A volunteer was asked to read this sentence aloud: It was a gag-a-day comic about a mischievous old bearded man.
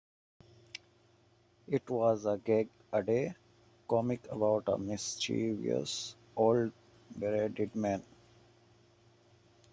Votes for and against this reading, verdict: 2, 1, accepted